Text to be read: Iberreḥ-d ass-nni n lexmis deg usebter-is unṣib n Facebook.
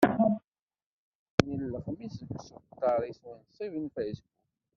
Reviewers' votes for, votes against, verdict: 0, 2, rejected